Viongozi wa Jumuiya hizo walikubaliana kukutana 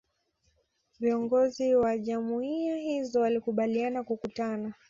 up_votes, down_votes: 2, 0